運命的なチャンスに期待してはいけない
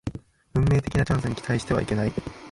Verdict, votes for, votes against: rejected, 0, 2